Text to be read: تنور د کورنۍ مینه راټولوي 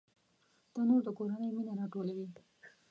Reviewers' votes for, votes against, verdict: 2, 0, accepted